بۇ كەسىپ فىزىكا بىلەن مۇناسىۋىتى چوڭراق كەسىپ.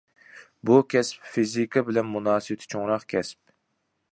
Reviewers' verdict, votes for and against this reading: accepted, 2, 0